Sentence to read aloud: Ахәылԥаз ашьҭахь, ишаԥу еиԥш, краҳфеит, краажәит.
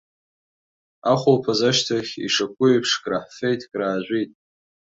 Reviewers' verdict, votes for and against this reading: accepted, 3, 0